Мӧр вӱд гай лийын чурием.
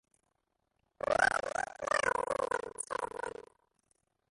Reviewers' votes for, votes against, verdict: 0, 2, rejected